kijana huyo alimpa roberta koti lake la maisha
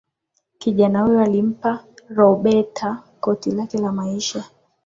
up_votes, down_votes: 4, 2